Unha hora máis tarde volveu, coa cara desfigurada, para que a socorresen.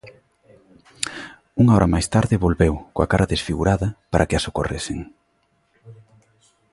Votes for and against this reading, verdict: 2, 0, accepted